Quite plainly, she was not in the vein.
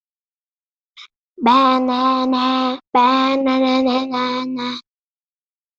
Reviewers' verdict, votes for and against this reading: rejected, 0, 2